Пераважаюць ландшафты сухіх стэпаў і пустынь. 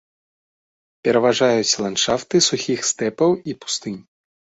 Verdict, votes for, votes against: accepted, 2, 0